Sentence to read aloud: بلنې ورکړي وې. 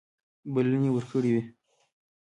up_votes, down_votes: 1, 2